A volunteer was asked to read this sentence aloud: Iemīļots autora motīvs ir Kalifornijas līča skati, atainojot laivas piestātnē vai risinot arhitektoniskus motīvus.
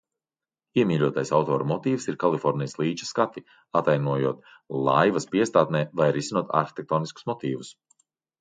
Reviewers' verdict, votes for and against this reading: rejected, 0, 2